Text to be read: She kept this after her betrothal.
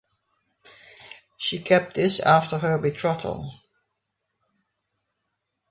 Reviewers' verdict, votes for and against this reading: accepted, 2, 0